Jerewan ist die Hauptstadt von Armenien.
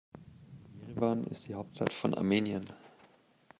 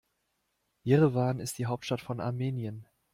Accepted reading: second